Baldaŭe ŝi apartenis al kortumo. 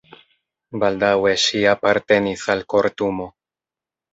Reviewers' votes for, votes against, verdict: 2, 1, accepted